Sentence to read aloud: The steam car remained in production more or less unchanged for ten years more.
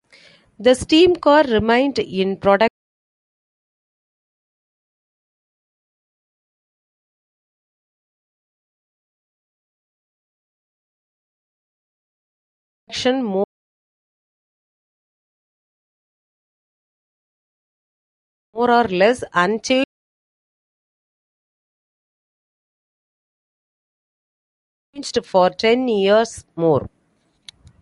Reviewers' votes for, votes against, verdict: 1, 2, rejected